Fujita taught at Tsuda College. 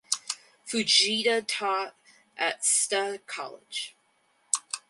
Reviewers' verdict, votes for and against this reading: rejected, 2, 2